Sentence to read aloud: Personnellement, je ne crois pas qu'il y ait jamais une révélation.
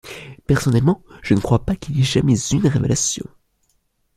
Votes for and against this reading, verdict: 1, 2, rejected